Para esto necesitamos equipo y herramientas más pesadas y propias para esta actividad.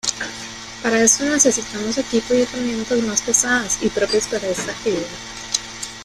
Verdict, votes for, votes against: rejected, 0, 2